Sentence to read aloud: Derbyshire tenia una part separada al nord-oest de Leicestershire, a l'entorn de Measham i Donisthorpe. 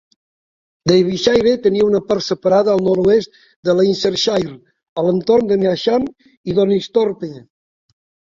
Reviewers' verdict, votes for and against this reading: rejected, 1, 2